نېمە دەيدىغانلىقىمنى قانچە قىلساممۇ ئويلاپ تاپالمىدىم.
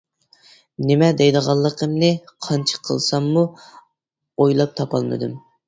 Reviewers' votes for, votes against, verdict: 2, 0, accepted